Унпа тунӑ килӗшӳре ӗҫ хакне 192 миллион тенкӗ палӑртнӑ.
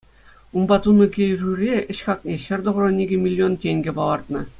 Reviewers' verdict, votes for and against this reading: rejected, 0, 2